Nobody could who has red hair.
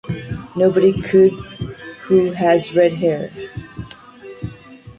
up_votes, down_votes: 2, 1